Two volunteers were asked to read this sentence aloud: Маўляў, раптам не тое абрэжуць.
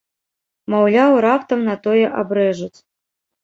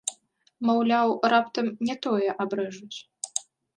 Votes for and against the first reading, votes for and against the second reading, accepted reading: 0, 4, 2, 0, second